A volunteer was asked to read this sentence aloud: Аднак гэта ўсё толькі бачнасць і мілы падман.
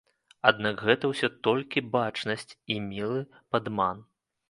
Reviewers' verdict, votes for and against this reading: accepted, 2, 0